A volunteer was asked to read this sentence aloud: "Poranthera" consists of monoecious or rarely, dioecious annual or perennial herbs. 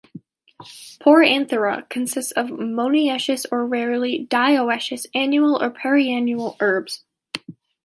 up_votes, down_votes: 2, 0